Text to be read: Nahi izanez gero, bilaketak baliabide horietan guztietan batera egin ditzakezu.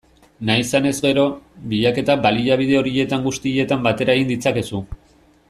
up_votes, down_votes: 2, 0